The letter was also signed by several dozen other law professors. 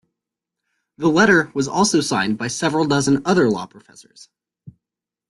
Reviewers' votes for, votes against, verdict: 1, 2, rejected